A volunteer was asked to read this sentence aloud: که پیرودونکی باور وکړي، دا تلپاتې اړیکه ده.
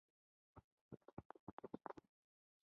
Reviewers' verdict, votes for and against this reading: rejected, 0, 2